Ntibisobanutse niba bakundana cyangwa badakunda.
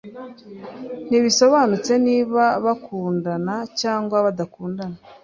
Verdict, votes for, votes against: rejected, 1, 2